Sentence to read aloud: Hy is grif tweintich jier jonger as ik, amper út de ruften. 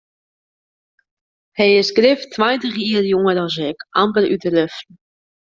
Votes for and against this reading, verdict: 2, 0, accepted